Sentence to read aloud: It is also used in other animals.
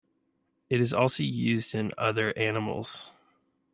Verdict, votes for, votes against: accepted, 2, 0